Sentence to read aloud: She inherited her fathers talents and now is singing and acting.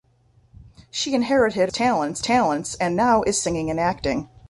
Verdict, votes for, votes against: rejected, 0, 2